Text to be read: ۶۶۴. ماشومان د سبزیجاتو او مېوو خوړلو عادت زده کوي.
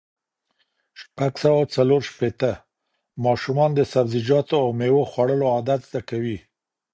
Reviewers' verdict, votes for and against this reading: rejected, 0, 2